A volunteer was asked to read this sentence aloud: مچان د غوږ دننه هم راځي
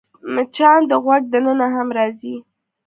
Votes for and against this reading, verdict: 2, 0, accepted